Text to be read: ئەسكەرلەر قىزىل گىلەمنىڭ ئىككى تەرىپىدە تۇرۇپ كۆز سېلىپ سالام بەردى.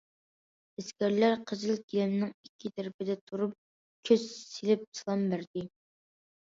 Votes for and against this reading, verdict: 2, 0, accepted